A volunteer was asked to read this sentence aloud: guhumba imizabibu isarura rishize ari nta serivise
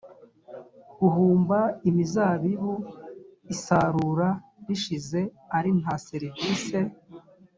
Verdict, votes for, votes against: accepted, 2, 0